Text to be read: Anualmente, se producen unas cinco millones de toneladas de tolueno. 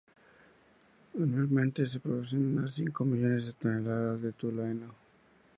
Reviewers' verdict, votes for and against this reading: rejected, 0, 2